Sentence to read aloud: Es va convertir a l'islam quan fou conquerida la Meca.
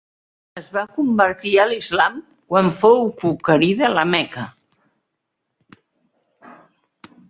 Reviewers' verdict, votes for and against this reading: rejected, 1, 2